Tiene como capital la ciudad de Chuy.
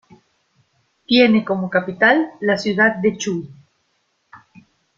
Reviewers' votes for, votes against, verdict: 2, 0, accepted